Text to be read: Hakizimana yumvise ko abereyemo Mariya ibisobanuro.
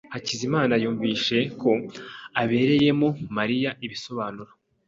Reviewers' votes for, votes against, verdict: 3, 0, accepted